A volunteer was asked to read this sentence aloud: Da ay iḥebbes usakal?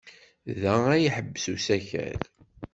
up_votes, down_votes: 0, 2